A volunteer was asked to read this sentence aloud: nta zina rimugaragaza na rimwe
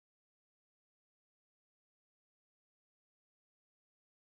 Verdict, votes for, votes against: rejected, 1, 2